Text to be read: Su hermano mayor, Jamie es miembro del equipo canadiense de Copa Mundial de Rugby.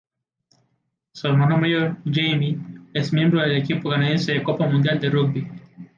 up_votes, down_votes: 0, 2